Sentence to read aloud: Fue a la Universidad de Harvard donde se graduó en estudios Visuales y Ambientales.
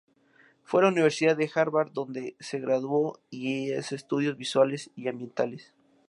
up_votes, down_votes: 0, 2